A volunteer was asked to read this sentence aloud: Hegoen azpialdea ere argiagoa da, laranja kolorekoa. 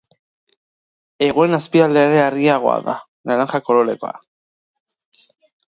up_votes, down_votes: 1, 2